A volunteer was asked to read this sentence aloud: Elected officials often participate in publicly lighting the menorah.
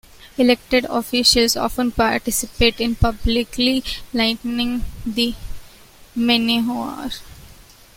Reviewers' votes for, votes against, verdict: 0, 2, rejected